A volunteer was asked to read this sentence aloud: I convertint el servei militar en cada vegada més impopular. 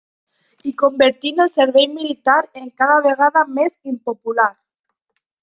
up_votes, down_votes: 0, 2